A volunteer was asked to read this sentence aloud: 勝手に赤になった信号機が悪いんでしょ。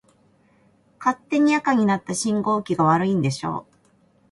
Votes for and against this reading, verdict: 2, 0, accepted